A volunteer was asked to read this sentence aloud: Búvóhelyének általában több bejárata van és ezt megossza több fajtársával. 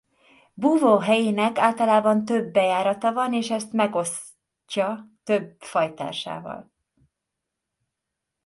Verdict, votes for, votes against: rejected, 0, 3